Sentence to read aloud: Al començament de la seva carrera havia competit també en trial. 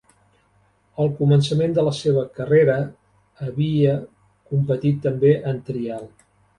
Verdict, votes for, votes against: accepted, 2, 0